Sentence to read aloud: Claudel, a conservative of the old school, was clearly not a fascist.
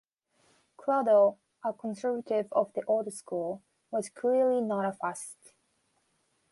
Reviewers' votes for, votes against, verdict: 0, 2, rejected